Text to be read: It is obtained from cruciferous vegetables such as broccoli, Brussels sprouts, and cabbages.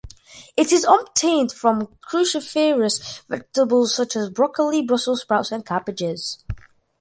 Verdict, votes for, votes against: rejected, 0, 2